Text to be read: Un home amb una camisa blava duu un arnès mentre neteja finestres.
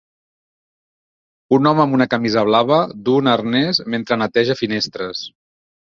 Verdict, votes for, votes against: accepted, 2, 0